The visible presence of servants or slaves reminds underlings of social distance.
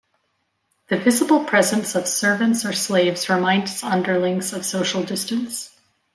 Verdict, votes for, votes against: accepted, 2, 0